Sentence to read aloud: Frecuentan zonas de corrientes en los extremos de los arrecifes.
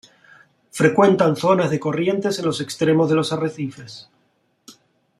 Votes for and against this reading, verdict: 2, 0, accepted